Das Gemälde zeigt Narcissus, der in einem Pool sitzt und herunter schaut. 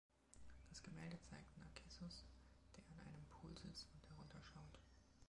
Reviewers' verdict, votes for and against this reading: rejected, 0, 2